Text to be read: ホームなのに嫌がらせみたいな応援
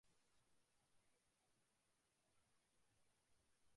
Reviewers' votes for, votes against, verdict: 0, 2, rejected